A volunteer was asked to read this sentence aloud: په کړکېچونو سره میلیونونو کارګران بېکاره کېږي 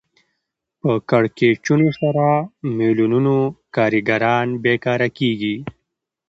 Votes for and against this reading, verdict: 2, 0, accepted